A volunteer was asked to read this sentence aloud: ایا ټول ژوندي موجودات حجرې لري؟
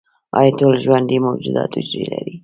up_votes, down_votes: 2, 0